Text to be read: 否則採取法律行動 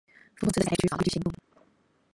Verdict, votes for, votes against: rejected, 1, 2